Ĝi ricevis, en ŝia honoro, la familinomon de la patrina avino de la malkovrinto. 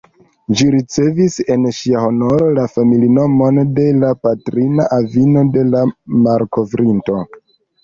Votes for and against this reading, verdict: 1, 3, rejected